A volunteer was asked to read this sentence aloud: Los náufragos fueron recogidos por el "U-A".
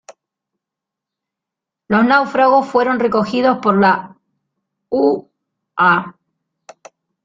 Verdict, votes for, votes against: rejected, 0, 2